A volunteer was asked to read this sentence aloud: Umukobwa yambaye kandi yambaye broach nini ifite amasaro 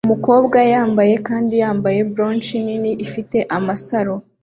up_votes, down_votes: 2, 0